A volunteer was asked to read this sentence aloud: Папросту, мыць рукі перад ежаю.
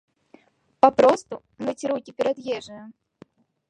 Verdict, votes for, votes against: accepted, 2, 0